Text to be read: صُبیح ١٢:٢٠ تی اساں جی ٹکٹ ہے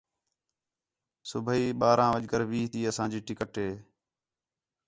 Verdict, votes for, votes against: rejected, 0, 2